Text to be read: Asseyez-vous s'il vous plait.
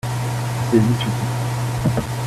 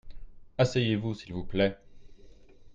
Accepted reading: second